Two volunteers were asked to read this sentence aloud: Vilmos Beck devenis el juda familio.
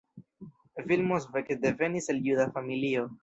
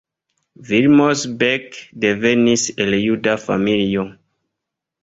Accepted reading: second